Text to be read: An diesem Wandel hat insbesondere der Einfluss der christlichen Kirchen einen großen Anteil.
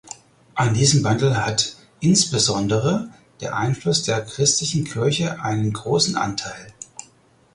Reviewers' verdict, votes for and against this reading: rejected, 2, 4